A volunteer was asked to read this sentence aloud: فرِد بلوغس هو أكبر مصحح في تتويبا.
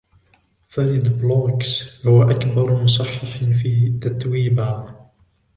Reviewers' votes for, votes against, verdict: 1, 2, rejected